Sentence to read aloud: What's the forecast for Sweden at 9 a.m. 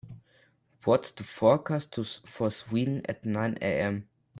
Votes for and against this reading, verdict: 0, 2, rejected